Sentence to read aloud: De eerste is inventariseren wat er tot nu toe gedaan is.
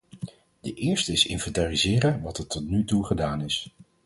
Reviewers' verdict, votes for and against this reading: accepted, 4, 0